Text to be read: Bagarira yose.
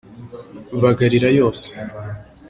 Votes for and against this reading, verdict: 2, 0, accepted